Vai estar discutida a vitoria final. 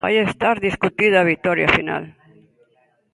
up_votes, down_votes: 1, 2